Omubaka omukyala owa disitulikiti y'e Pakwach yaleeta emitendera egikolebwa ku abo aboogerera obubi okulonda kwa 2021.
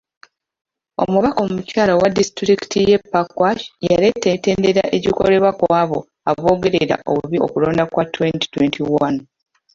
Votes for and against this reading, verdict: 0, 2, rejected